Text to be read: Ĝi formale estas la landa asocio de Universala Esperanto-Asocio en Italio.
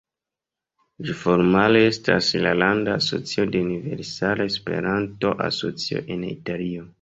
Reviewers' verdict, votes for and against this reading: rejected, 0, 2